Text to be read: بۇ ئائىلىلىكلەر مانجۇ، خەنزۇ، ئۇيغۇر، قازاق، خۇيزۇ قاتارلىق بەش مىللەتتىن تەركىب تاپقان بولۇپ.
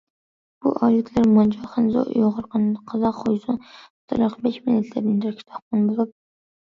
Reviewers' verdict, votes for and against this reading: rejected, 0, 2